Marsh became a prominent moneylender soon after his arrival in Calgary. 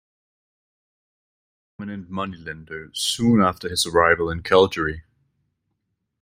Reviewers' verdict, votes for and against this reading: rejected, 1, 2